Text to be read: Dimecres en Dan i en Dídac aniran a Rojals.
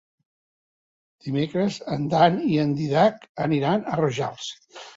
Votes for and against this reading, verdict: 3, 0, accepted